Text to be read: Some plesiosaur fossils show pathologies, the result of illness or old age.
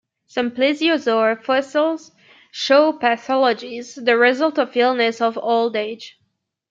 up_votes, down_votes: 1, 2